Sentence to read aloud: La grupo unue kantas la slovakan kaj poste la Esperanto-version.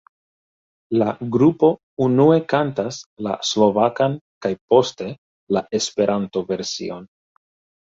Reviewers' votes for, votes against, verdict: 2, 1, accepted